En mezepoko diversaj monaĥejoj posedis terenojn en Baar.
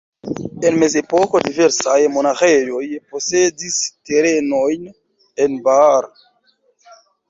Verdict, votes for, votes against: rejected, 1, 3